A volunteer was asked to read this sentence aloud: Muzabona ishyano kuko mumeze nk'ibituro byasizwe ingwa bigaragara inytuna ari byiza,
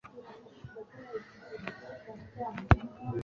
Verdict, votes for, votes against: rejected, 0, 2